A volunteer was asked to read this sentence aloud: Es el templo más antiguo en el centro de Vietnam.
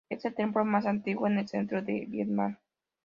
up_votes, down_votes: 2, 0